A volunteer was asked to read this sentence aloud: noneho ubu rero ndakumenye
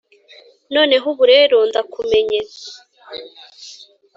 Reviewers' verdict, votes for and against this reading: accepted, 3, 0